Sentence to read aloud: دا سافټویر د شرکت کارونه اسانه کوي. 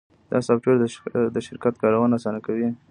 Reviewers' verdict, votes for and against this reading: rejected, 1, 2